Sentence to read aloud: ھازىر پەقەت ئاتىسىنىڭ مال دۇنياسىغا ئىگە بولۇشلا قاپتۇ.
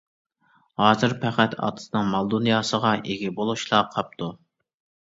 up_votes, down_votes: 2, 0